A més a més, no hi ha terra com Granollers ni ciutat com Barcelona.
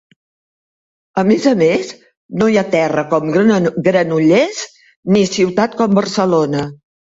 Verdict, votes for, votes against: rejected, 0, 2